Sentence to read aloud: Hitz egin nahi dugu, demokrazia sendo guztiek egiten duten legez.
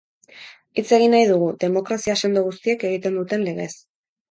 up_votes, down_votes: 8, 0